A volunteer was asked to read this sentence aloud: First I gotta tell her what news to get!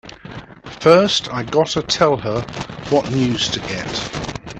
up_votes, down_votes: 2, 0